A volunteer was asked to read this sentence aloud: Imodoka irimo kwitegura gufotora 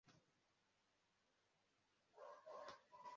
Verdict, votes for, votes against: rejected, 0, 2